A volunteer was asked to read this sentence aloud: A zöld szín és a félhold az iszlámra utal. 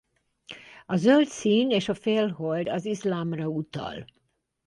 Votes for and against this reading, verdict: 6, 0, accepted